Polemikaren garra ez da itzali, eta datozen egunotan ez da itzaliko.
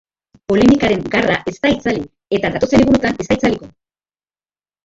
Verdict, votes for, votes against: rejected, 0, 6